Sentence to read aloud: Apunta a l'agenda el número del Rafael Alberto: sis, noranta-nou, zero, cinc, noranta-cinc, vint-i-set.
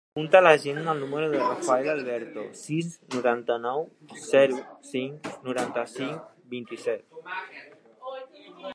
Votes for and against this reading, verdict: 3, 1, accepted